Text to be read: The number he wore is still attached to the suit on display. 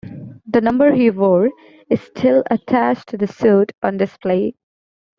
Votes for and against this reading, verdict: 2, 0, accepted